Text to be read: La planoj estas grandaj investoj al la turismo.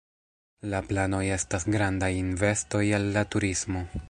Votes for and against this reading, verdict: 1, 2, rejected